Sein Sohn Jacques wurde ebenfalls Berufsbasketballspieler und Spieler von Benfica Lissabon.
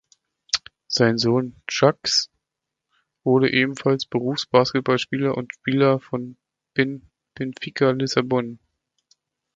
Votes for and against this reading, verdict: 0, 2, rejected